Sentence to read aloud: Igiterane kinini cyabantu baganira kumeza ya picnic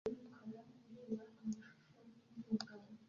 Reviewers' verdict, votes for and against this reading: rejected, 0, 2